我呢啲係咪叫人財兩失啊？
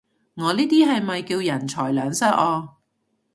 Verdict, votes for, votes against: accepted, 2, 0